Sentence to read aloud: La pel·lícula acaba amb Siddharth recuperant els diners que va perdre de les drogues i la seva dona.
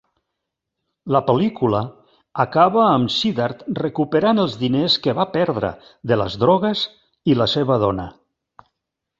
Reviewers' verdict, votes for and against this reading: accepted, 3, 0